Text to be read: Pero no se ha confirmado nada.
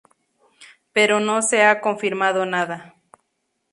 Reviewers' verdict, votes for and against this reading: accepted, 2, 0